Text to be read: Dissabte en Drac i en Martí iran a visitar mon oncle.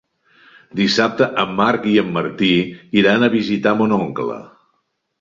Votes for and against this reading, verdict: 1, 4, rejected